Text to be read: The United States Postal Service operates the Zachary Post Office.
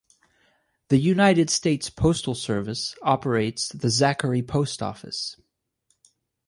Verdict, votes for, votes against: accepted, 4, 0